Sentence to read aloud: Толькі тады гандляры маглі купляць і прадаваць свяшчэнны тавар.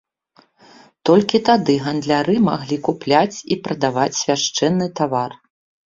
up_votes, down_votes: 2, 0